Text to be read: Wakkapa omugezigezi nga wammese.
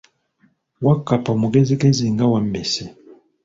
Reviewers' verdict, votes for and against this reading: accepted, 2, 1